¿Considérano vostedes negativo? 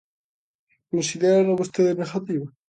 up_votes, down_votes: 2, 0